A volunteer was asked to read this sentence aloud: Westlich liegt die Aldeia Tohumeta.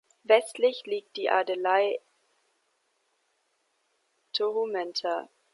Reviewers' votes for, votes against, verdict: 0, 2, rejected